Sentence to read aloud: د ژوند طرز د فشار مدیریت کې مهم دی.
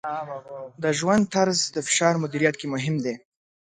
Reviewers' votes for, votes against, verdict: 2, 0, accepted